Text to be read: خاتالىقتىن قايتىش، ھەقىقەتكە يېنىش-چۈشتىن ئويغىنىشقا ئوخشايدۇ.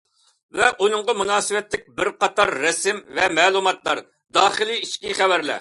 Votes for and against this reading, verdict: 0, 2, rejected